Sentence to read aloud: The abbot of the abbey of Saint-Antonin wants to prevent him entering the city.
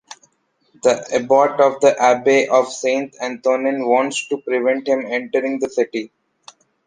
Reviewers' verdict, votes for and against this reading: accepted, 2, 1